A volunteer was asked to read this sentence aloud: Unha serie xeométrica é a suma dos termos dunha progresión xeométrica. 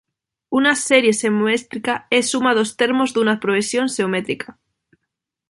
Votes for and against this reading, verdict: 0, 2, rejected